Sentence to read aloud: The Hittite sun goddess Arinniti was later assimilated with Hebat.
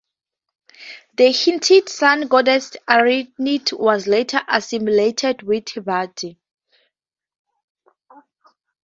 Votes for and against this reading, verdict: 0, 2, rejected